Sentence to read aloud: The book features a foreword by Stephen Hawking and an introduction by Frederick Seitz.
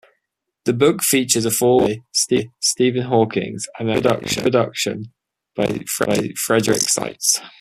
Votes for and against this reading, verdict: 0, 2, rejected